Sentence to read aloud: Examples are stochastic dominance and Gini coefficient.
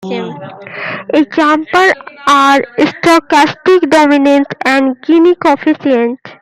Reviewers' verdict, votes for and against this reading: rejected, 2, 2